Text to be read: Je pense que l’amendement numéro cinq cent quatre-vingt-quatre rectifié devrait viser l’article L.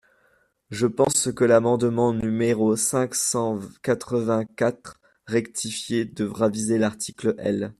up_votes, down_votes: 1, 2